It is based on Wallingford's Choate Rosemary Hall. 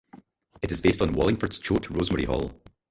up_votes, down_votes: 0, 4